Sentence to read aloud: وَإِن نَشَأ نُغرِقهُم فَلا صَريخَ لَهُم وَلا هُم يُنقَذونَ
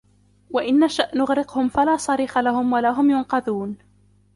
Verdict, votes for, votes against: accepted, 2, 0